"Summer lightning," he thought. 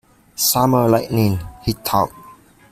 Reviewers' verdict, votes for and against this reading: accepted, 2, 0